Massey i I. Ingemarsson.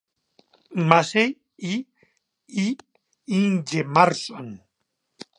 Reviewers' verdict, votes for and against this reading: accepted, 2, 0